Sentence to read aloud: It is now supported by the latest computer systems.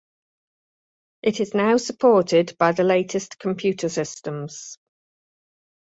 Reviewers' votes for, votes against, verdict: 2, 0, accepted